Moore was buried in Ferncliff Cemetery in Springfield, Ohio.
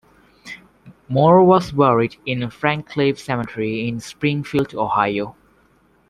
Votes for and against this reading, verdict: 2, 1, accepted